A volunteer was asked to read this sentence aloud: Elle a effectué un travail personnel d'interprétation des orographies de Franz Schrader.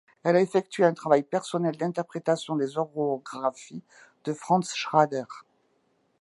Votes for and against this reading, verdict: 2, 1, accepted